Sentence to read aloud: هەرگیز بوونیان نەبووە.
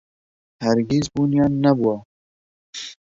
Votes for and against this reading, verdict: 2, 0, accepted